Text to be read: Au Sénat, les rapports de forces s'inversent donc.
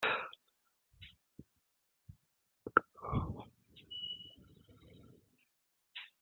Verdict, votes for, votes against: rejected, 0, 2